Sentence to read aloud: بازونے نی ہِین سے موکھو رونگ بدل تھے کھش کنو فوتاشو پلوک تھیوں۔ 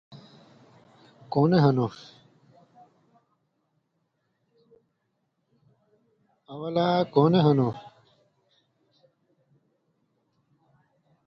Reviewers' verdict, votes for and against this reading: rejected, 0, 2